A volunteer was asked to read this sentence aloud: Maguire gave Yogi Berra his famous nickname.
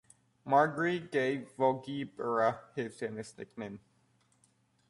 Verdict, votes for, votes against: rejected, 0, 2